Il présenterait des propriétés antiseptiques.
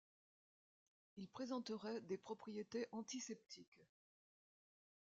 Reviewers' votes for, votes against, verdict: 2, 0, accepted